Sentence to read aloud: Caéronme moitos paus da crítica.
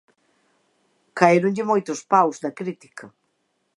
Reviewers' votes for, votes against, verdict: 1, 2, rejected